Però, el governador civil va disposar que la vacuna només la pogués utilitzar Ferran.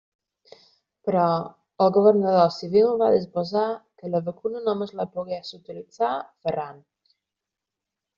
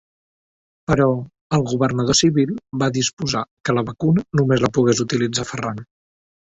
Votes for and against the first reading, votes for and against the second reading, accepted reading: 1, 2, 3, 1, second